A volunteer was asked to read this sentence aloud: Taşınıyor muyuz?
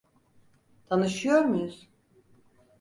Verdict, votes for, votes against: rejected, 0, 4